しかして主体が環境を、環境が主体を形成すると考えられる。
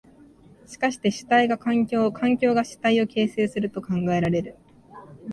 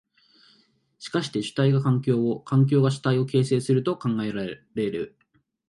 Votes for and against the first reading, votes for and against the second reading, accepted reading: 3, 0, 1, 2, first